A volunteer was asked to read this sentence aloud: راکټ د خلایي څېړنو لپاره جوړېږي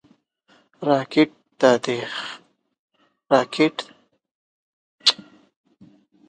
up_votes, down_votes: 1, 2